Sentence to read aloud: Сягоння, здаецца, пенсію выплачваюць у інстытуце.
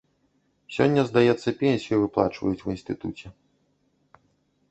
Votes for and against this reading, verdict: 1, 2, rejected